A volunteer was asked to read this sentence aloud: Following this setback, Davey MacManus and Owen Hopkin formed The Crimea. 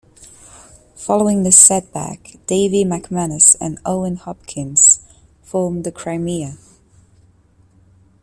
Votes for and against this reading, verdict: 0, 2, rejected